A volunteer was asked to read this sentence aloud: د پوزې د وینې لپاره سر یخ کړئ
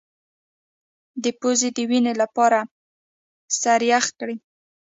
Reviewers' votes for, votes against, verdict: 0, 2, rejected